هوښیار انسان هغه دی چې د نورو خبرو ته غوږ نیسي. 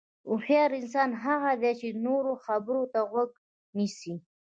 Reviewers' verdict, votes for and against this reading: accepted, 2, 0